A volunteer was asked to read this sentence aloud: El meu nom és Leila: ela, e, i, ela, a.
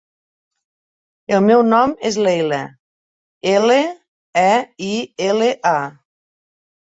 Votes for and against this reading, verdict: 0, 2, rejected